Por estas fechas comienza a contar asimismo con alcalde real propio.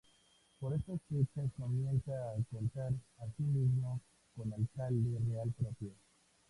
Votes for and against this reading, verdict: 0, 4, rejected